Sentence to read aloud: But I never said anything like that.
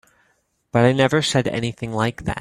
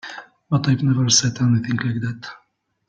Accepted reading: first